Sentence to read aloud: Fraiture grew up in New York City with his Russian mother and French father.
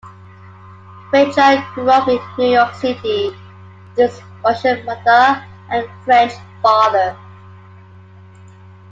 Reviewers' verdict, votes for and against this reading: rejected, 1, 2